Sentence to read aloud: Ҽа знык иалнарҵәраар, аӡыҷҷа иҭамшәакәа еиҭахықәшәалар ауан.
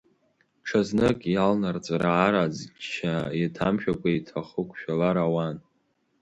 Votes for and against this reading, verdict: 1, 2, rejected